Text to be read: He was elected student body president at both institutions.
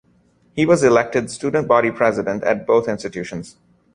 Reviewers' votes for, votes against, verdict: 2, 0, accepted